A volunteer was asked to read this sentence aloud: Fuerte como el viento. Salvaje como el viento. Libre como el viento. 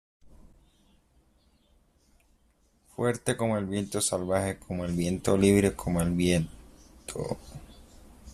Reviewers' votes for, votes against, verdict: 1, 2, rejected